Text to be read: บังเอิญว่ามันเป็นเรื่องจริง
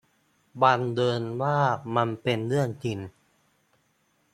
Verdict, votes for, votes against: rejected, 1, 2